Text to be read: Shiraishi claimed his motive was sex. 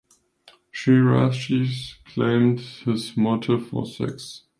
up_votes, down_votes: 0, 2